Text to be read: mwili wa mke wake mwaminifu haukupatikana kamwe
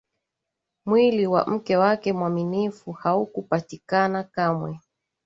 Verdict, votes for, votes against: accepted, 2, 0